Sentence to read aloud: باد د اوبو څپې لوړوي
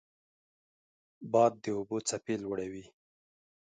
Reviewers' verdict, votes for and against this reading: accepted, 2, 0